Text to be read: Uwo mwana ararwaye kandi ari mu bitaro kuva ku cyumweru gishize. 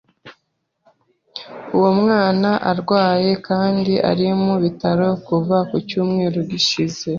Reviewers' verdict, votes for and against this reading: rejected, 1, 2